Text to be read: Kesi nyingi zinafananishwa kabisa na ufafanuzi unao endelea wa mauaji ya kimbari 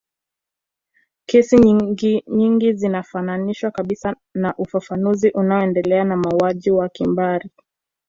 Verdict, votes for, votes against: accepted, 2, 0